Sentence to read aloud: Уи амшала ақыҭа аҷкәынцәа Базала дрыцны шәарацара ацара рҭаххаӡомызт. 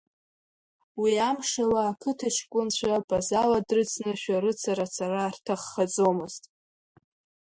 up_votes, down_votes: 2, 0